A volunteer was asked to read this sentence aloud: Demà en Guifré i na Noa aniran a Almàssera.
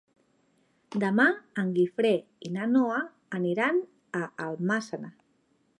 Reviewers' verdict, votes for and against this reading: accepted, 3, 0